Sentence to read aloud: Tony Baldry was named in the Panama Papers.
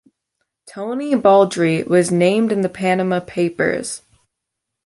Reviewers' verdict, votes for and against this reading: accepted, 3, 0